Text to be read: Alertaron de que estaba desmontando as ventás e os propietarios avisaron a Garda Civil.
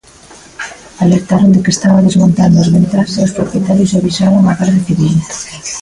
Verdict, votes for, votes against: rejected, 1, 2